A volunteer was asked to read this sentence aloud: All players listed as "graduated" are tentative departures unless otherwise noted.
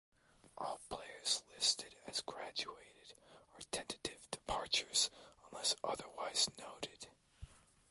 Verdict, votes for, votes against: accepted, 2, 0